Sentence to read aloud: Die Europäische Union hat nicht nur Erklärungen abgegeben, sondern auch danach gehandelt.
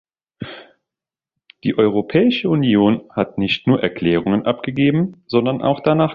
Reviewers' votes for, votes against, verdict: 0, 3, rejected